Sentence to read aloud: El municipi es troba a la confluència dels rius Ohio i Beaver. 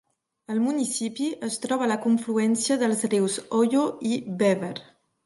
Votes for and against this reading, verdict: 1, 3, rejected